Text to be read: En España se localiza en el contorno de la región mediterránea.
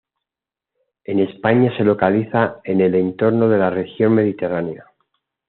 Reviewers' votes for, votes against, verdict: 2, 0, accepted